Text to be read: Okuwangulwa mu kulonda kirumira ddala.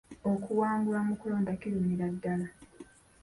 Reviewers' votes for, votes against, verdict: 2, 0, accepted